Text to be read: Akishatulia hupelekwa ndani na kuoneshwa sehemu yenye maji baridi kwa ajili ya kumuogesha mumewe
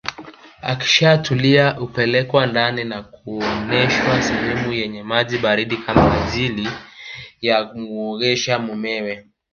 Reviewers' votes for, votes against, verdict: 1, 2, rejected